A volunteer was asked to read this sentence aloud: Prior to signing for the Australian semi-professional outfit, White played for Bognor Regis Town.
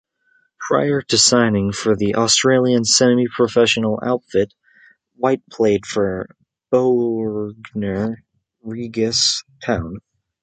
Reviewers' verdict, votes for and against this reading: accepted, 2, 0